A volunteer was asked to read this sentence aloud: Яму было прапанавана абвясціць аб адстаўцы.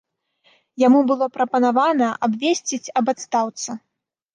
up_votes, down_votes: 1, 2